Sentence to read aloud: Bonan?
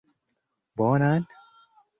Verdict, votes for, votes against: accepted, 2, 0